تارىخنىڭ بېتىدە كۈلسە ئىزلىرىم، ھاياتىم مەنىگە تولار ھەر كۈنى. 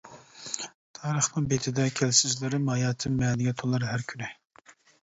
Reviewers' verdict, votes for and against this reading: rejected, 0, 2